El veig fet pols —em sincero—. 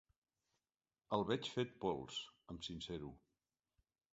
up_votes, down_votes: 1, 2